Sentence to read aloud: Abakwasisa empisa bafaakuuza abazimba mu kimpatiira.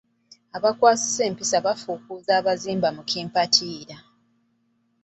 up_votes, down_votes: 1, 2